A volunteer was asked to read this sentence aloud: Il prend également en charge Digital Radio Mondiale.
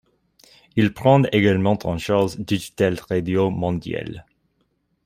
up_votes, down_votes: 2, 1